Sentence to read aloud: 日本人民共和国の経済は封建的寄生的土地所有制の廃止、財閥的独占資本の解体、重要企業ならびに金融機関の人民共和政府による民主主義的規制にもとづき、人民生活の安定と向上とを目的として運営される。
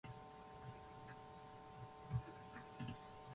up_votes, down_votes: 0, 2